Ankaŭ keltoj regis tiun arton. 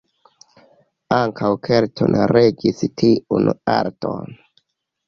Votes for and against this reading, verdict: 1, 2, rejected